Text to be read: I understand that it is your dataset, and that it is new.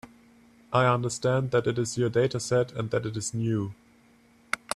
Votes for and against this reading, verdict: 3, 0, accepted